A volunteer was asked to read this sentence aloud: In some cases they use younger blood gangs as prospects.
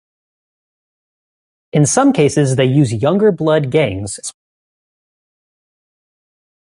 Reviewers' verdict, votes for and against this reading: rejected, 0, 2